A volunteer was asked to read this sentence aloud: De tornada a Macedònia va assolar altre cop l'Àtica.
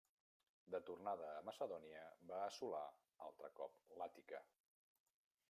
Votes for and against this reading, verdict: 0, 2, rejected